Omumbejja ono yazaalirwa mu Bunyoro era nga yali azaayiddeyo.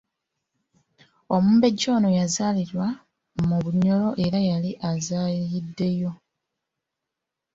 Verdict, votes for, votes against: accepted, 2, 0